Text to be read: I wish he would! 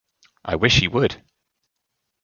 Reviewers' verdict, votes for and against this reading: accepted, 2, 0